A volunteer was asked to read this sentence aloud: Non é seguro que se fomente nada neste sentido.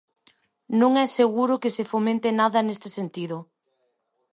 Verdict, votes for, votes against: accepted, 2, 0